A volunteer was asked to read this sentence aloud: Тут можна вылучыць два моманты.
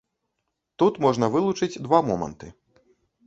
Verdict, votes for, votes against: accepted, 2, 0